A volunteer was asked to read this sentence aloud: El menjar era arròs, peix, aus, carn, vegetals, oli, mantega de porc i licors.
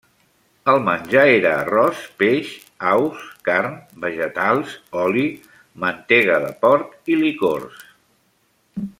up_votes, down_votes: 3, 0